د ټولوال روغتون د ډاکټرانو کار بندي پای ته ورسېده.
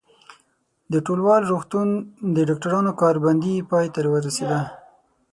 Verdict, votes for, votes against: rejected, 3, 6